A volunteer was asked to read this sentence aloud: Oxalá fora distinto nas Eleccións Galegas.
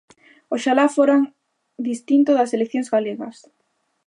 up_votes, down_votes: 0, 3